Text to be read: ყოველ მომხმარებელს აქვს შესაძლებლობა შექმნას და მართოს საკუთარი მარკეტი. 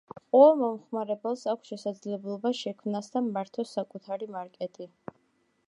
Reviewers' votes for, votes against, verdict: 2, 0, accepted